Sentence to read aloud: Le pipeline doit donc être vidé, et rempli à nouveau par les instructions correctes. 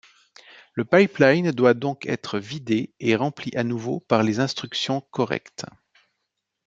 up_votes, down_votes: 2, 0